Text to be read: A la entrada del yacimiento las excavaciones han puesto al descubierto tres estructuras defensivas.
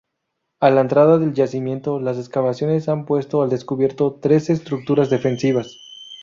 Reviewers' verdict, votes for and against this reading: rejected, 0, 2